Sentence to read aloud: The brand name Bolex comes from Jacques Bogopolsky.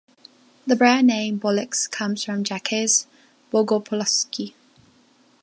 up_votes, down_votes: 0, 2